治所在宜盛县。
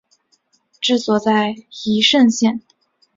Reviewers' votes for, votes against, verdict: 3, 1, accepted